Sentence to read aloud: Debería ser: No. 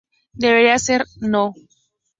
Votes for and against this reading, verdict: 2, 0, accepted